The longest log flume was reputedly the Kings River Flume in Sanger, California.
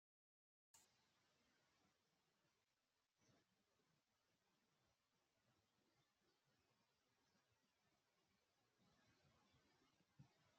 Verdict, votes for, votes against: rejected, 0, 2